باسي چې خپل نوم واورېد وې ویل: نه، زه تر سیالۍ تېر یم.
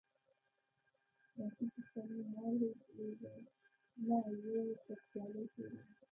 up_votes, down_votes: 0, 3